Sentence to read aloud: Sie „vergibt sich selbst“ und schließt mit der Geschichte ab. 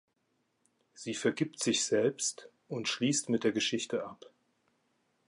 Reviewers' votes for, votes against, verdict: 3, 0, accepted